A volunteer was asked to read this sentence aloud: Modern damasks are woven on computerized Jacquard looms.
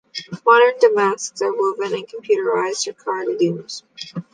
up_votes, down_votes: 2, 0